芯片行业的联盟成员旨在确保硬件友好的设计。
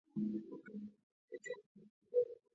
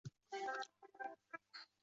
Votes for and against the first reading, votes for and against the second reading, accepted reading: 5, 3, 0, 3, first